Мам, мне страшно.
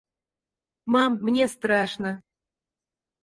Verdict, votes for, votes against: rejected, 0, 4